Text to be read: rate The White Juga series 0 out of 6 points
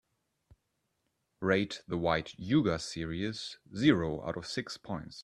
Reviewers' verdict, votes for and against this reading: rejected, 0, 2